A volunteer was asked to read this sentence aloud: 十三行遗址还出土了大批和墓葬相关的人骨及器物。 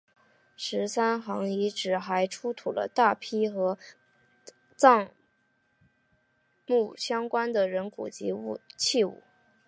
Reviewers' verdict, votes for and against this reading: rejected, 0, 2